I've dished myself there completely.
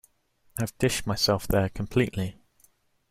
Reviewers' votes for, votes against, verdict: 2, 0, accepted